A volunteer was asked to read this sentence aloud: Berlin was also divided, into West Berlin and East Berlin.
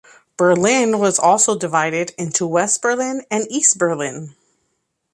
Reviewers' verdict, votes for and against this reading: accepted, 2, 0